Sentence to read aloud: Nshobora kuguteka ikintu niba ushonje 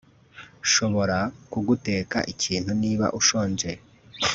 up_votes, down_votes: 1, 2